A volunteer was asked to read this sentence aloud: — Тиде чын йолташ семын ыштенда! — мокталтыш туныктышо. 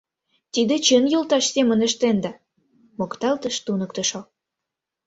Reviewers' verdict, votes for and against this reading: accepted, 2, 0